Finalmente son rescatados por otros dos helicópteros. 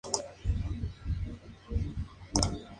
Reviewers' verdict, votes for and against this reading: rejected, 0, 2